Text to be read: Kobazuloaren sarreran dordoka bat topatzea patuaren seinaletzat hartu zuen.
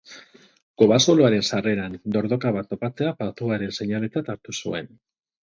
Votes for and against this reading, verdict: 6, 0, accepted